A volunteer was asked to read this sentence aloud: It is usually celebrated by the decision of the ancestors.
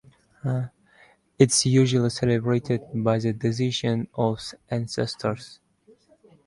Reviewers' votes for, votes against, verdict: 1, 2, rejected